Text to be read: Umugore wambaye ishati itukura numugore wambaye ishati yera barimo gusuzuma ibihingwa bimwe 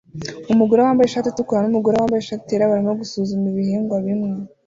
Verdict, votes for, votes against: accepted, 2, 0